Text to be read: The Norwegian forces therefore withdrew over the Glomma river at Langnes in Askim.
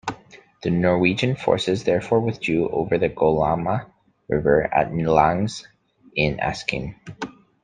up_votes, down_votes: 1, 2